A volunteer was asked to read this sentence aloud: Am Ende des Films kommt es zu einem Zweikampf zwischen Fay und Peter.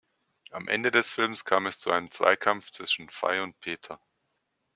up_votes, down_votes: 0, 2